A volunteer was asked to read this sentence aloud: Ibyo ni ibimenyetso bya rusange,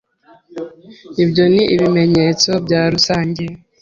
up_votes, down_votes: 2, 0